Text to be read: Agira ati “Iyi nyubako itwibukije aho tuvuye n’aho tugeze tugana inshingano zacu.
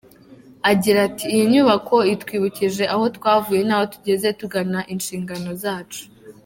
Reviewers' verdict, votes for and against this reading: accepted, 3, 0